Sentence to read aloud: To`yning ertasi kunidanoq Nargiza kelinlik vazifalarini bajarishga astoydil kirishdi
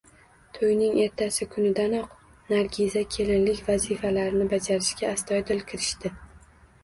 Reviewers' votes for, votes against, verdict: 2, 0, accepted